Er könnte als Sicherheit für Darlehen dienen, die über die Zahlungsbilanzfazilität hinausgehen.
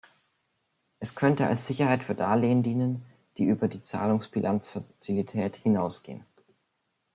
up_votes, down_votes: 0, 2